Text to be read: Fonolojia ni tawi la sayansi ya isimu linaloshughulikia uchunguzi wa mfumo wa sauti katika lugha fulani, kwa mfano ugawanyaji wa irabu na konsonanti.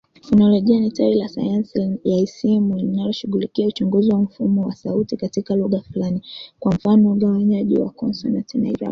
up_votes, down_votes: 0, 2